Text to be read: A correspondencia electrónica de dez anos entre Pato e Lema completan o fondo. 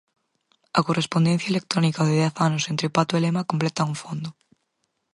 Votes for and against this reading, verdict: 4, 0, accepted